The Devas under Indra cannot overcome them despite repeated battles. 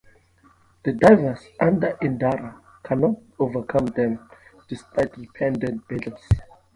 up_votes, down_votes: 0, 2